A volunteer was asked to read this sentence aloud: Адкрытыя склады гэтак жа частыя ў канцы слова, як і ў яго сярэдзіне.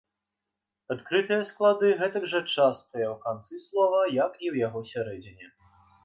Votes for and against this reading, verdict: 2, 0, accepted